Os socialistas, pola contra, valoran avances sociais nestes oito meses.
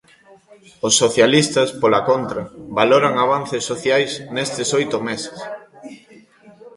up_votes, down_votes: 1, 2